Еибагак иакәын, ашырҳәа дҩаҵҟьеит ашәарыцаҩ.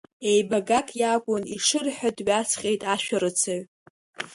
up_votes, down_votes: 1, 2